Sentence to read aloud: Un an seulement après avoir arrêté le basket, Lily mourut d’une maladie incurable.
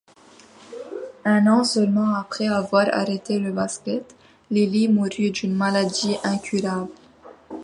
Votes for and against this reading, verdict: 2, 0, accepted